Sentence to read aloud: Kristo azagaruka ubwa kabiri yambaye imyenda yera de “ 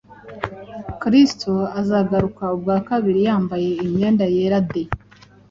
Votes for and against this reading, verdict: 2, 0, accepted